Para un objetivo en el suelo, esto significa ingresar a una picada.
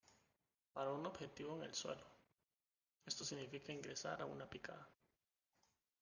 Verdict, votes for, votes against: accepted, 2, 1